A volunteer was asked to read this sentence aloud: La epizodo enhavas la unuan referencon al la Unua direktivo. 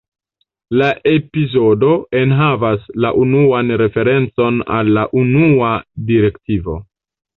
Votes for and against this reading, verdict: 1, 2, rejected